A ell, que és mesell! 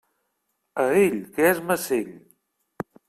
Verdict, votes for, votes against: rejected, 1, 2